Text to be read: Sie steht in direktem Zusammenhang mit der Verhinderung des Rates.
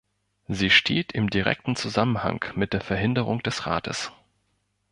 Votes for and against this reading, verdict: 1, 2, rejected